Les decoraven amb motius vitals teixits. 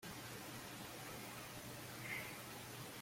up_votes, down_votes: 0, 2